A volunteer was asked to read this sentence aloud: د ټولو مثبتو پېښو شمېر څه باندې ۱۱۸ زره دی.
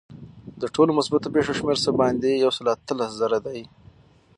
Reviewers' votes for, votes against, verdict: 0, 2, rejected